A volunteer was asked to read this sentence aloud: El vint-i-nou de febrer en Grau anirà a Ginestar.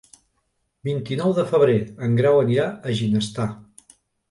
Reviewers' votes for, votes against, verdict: 1, 2, rejected